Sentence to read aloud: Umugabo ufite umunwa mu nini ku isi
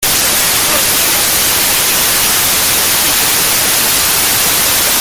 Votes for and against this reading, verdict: 0, 2, rejected